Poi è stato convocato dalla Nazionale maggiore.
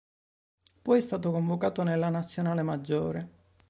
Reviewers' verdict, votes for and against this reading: rejected, 1, 3